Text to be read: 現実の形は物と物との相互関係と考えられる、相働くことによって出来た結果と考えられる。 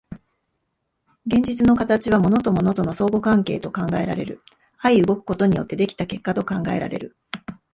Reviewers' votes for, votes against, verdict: 4, 1, accepted